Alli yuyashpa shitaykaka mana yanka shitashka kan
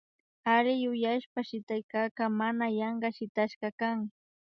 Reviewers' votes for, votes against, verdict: 2, 0, accepted